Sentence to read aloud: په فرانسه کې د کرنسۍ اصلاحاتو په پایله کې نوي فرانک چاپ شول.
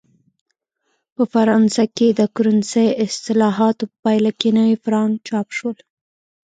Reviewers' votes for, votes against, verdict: 0, 2, rejected